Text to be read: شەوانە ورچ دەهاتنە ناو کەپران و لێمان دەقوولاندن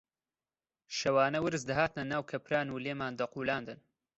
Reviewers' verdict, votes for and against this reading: accepted, 2, 0